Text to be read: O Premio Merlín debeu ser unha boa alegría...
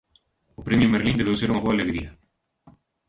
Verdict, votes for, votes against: rejected, 1, 2